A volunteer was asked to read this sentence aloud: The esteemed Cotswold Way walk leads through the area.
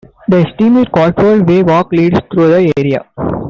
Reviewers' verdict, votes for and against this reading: rejected, 0, 2